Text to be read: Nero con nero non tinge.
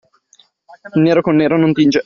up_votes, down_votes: 2, 0